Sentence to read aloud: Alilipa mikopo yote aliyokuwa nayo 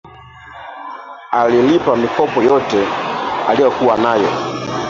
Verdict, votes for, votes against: rejected, 0, 4